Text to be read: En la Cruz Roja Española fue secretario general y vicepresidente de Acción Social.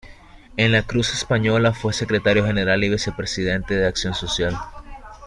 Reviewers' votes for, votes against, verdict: 0, 2, rejected